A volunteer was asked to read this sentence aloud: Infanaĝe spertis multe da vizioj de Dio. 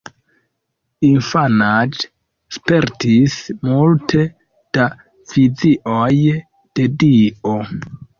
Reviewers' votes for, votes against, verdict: 0, 2, rejected